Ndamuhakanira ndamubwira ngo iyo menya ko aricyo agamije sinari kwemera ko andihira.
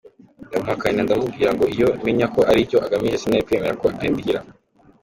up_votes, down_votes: 2, 0